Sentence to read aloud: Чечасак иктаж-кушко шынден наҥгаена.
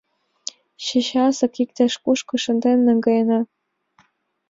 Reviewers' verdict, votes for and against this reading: accepted, 2, 0